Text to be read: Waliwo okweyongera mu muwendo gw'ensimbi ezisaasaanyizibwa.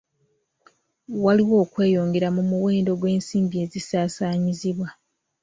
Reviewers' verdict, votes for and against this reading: accepted, 2, 0